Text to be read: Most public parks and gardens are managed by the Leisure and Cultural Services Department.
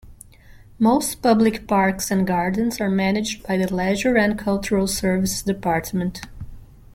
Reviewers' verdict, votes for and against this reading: accepted, 2, 0